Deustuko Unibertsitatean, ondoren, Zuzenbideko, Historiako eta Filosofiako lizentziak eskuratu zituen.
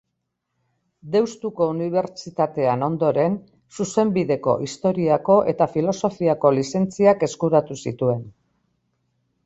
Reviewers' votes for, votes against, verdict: 2, 0, accepted